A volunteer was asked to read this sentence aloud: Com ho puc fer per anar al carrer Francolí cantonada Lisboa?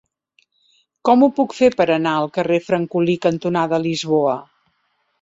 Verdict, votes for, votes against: accepted, 3, 0